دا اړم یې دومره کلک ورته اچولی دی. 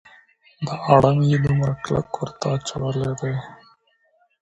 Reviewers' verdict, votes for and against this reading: rejected, 1, 2